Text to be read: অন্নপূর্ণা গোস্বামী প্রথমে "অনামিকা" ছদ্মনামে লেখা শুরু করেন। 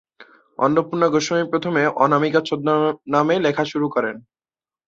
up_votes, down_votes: 2, 0